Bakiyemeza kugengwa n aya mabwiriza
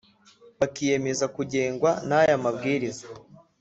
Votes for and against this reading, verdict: 2, 0, accepted